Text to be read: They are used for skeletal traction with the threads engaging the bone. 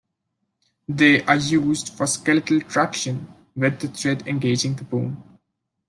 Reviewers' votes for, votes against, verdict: 0, 2, rejected